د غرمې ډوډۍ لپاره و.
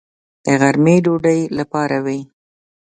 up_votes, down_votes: 2, 0